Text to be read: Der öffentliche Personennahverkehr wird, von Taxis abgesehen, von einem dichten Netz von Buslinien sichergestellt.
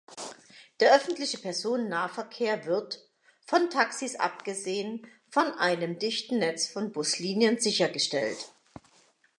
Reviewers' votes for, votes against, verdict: 2, 1, accepted